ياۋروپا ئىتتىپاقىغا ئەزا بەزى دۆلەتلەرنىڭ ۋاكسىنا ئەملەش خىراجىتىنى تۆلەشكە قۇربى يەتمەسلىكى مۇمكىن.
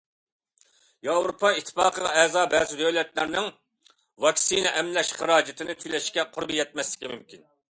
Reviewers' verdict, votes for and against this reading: accepted, 2, 0